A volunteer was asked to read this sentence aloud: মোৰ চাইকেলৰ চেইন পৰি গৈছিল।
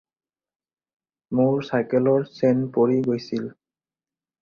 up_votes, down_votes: 4, 0